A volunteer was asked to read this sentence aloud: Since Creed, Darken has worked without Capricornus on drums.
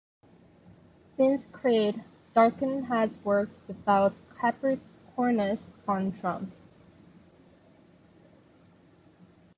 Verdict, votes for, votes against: rejected, 0, 2